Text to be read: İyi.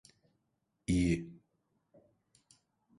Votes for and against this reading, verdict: 2, 0, accepted